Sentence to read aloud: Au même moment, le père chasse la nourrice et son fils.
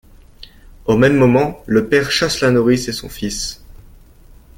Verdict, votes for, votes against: accepted, 2, 0